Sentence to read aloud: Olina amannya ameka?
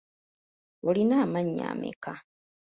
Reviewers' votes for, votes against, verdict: 3, 0, accepted